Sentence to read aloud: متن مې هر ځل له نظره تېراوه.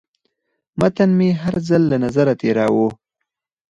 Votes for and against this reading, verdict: 0, 4, rejected